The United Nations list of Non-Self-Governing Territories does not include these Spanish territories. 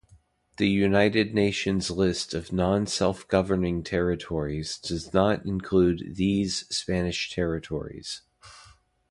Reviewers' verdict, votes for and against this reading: rejected, 1, 2